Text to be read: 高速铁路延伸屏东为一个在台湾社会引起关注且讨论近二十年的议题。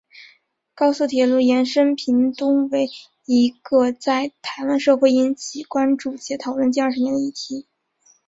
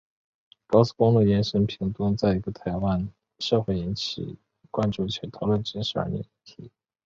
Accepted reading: first